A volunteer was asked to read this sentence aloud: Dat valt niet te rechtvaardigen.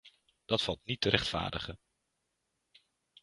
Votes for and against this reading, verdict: 2, 0, accepted